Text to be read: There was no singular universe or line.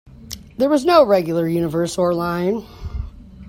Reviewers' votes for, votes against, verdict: 0, 2, rejected